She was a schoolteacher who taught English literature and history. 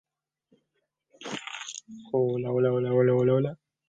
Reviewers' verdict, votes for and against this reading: rejected, 0, 2